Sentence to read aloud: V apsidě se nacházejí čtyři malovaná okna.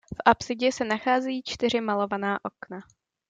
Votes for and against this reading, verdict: 2, 0, accepted